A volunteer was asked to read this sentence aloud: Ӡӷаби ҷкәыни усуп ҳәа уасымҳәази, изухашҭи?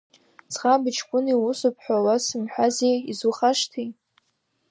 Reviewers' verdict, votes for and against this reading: accepted, 2, 0